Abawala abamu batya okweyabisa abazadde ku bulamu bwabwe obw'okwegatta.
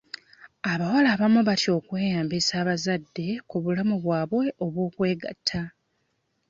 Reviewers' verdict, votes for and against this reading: rejected, 0, 2